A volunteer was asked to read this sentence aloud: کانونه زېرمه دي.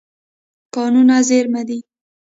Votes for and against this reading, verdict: 1, 2, rejected